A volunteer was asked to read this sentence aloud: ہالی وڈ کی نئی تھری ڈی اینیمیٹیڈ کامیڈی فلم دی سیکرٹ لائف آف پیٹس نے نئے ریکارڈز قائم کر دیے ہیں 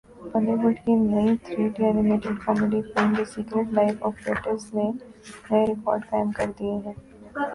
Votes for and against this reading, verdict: 1, 3, rejected